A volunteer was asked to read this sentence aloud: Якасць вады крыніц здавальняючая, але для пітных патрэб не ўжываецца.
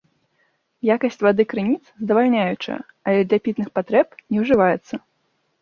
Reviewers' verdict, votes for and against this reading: accepted, 2, 0